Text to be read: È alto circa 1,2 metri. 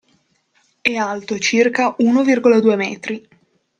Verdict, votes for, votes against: rejected, 0, 2